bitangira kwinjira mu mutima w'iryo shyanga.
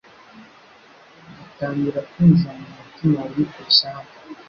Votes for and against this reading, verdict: 1, 2, rejected